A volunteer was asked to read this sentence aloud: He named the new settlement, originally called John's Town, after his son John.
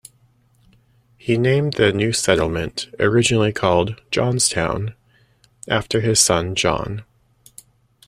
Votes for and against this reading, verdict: 2, 0, accepted